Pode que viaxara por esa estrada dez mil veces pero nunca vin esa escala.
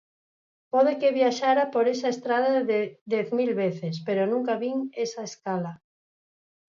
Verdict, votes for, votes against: rejected, 2, 4